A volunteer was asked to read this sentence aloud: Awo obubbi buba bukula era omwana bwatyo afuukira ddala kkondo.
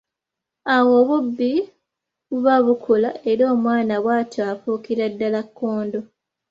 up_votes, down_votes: 3, 0